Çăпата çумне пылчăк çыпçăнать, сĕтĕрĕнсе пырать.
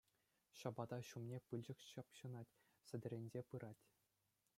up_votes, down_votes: 2, 0